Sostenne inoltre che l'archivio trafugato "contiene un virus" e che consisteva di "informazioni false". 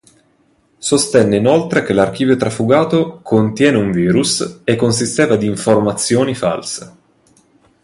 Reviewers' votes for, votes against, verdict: 1, 2, rejected